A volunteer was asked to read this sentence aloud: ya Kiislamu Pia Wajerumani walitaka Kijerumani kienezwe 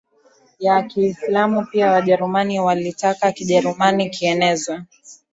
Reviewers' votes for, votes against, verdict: 2, 0, accepted